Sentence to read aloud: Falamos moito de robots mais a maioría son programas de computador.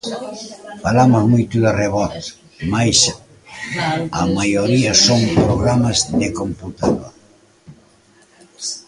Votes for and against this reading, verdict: 0, 2, rejected